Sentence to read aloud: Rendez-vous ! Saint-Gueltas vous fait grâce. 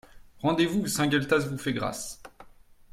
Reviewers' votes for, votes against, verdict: 2, 0, accepted